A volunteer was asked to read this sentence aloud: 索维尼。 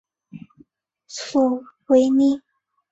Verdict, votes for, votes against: accepted, 2, 0